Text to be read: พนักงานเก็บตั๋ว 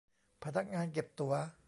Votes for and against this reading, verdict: 0, 2, rejected